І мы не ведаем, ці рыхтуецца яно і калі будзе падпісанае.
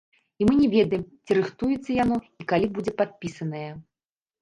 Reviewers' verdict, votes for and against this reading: rejected, 1, 2